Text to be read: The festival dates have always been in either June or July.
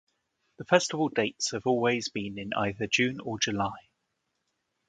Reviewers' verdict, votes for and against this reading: accepted, 2, 0